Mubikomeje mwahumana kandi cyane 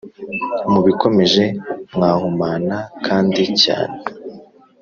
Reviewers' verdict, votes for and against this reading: rejected, 1, 2